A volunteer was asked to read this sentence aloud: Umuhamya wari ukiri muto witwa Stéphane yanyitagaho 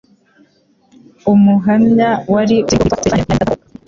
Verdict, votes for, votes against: rejected, 1, 2